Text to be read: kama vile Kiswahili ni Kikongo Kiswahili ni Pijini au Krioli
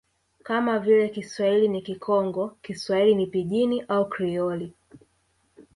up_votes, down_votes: 1, 2